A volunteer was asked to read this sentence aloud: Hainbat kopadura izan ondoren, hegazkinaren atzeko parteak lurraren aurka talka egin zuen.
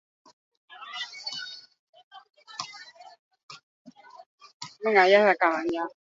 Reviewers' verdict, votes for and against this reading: rejected, 0, 6